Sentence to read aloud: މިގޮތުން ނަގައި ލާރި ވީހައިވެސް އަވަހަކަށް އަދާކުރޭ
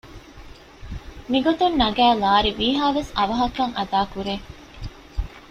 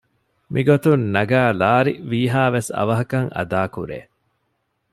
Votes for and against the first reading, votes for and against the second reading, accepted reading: 0, 2, 2, 0, second